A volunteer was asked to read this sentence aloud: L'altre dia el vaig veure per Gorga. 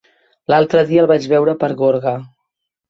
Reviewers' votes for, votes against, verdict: 3, 0, accepted